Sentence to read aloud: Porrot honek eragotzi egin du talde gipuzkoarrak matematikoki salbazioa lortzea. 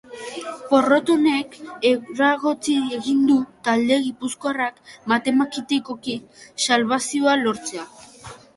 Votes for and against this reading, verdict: 0, 2, rejected